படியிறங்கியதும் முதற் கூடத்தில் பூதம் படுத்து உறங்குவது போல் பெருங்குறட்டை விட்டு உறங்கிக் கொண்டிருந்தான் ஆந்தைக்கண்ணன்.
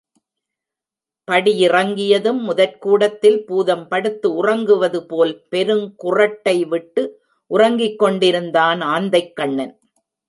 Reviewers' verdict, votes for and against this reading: rejected, 1, 2